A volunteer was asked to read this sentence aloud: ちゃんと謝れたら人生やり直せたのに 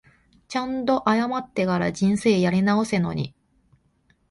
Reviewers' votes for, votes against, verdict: 0, 2, rejected